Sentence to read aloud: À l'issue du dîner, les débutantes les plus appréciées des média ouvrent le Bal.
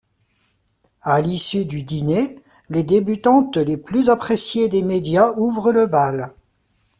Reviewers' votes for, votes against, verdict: 1, 2, rejected